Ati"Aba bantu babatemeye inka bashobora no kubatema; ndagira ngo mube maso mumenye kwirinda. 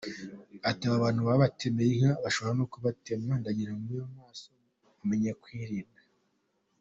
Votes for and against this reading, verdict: 0, 2, rejected